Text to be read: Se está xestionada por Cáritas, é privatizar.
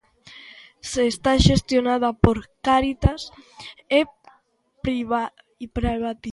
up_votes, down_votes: 0, 2